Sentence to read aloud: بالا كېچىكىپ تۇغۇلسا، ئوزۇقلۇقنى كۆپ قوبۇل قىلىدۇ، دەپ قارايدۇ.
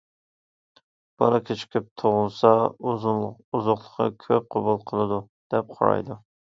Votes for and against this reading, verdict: 0, 2, rejected